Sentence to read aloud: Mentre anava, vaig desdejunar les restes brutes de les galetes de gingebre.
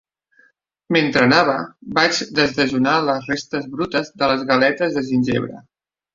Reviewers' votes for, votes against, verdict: 2, 1, accepted